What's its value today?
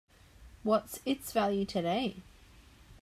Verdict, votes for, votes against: accepted, 3, 0